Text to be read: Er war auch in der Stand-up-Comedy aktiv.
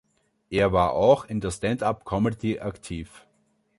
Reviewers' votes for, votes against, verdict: 3, 0, accepted